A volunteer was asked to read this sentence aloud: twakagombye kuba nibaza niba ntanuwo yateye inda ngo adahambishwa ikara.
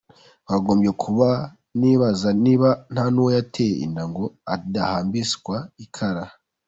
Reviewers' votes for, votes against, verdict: 2, 0, accepted